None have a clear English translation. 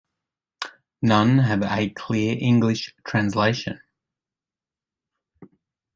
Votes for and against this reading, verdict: 2, 0, accepted